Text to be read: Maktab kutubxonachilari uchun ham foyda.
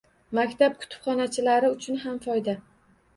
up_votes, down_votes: 2, 0